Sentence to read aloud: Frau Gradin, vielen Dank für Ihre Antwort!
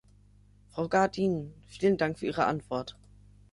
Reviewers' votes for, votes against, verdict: 0, 3, rejected